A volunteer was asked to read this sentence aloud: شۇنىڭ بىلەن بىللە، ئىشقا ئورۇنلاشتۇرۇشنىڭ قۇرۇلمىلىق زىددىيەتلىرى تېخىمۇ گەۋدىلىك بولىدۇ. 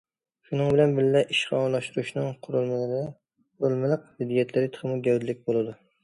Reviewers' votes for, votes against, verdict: 0, 2, rejected